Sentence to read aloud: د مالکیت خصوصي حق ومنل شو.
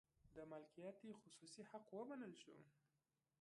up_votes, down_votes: 0, 2